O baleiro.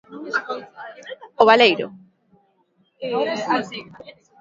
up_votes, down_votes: 2, 0